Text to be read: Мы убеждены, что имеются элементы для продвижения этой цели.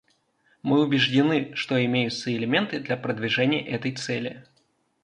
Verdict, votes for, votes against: accepted, 2, 0